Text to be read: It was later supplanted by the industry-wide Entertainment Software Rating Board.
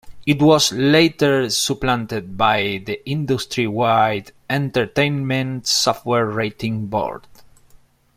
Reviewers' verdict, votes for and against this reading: accepted, 2, 0